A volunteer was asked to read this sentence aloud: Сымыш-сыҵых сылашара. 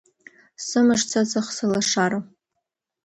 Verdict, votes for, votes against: accepted, 2, 0